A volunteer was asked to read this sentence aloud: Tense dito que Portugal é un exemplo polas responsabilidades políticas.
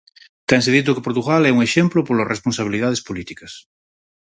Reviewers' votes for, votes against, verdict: 4, 0, accepted